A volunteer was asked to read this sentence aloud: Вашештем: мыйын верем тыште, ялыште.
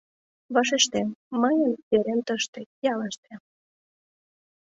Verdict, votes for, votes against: accepted, 2, 0